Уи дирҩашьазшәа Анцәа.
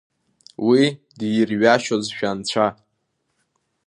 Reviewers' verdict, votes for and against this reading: rejected, 1, 2